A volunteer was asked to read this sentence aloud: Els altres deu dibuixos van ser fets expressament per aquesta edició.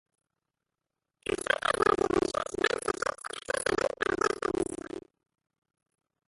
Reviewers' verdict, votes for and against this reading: rejected, 1, 3